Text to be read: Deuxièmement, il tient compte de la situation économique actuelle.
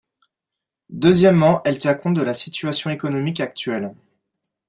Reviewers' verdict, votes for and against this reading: rejected, 1, 6